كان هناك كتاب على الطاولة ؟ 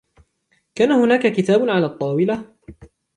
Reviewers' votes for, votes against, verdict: 2, 0, accepted